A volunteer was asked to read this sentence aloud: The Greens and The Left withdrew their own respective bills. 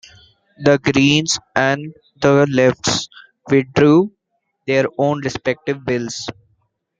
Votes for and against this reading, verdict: 2, 1, accepted